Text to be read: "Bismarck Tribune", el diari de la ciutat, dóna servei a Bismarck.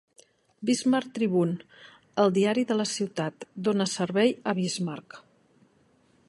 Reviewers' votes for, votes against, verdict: 2, 0, accepted